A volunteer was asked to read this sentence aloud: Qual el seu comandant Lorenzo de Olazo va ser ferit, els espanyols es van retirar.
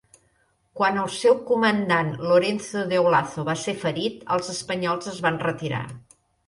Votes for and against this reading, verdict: 0, 2, rejected